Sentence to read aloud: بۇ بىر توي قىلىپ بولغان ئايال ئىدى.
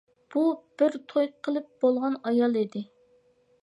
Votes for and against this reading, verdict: 2, 0, accepted